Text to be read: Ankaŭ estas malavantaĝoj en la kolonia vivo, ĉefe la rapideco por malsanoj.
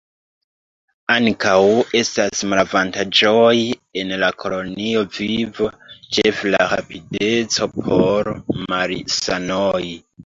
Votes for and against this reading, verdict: 2, 1, accepted